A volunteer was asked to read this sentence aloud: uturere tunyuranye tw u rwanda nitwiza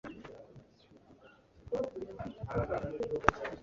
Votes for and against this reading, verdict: 1, 2, rejected